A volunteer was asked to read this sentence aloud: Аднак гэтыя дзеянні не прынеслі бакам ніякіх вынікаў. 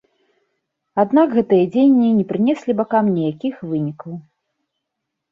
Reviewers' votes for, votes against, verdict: 1, 2, rejected